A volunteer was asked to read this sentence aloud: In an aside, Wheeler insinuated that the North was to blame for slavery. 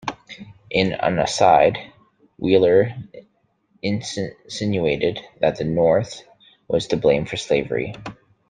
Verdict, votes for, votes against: rejected, 1, 2